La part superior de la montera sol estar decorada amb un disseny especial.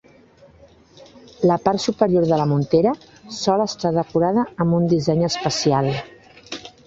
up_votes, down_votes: 4, 1